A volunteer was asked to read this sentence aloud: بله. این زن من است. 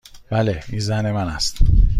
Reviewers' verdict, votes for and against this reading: accepted, 2, 0